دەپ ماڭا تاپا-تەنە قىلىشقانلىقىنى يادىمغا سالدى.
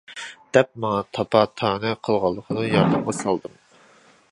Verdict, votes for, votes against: rejected, 0, 2